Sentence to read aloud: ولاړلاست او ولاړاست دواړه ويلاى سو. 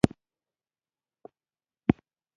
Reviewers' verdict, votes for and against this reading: rejected, 0, 2